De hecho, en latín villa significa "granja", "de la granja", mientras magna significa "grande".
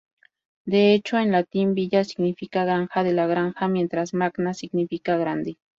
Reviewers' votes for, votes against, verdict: 2, 0, accepted